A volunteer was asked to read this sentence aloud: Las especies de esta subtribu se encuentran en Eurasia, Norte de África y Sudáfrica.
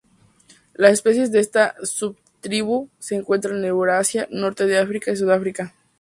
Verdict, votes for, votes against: accepted, 4, 0